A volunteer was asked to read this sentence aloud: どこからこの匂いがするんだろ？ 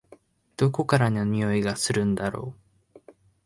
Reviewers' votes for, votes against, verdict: 0, 2, rejected